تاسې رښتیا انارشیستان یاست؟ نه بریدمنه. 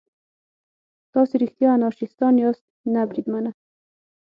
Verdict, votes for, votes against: accepted, 9, 0